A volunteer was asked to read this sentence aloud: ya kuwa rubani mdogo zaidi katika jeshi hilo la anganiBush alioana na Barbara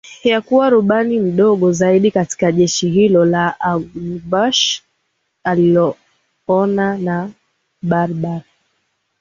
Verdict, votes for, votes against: accepted, 7, 6